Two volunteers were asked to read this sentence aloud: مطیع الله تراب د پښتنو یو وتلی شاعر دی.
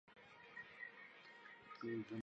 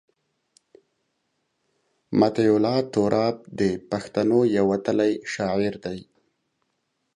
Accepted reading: second